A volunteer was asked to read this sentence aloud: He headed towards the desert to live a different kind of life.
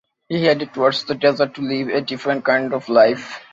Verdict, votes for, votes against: accepted, 2, 0